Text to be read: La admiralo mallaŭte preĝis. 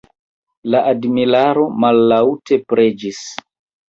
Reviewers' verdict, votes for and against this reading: rejected, 1, 2